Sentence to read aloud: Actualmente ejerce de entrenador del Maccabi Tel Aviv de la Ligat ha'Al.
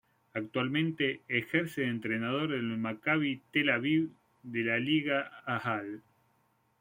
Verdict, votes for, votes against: rejected, 1, 2